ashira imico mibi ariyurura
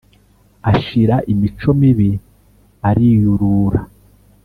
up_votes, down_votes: 3, 0